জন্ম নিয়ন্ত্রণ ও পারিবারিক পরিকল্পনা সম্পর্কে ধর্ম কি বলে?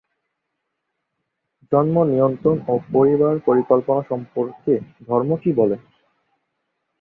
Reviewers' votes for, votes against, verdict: 2, 4, rejected